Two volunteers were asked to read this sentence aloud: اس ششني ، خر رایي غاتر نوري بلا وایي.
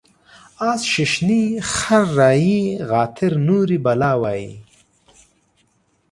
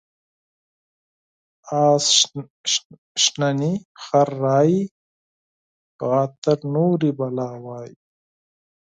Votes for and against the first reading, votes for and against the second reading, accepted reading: 2, 0, 0, 4, first